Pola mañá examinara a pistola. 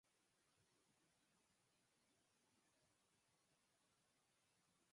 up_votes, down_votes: 0, 4